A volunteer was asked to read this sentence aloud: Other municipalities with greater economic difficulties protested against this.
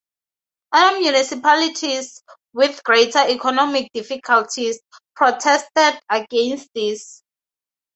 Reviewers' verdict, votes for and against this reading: accepted, 2, 0